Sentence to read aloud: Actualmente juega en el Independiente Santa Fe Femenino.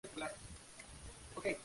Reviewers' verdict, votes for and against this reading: rejected, 0, 2